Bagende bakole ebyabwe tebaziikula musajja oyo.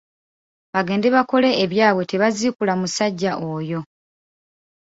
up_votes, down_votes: 3, 0